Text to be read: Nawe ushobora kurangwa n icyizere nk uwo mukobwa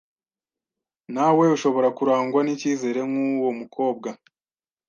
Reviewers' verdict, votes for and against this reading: accepted, 2, 0